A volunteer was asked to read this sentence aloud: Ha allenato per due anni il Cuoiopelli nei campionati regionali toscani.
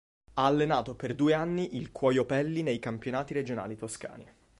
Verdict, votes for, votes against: accepted, 2, 0